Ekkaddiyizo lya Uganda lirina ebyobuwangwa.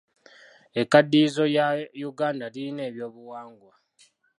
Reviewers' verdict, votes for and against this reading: accepted, 2, 0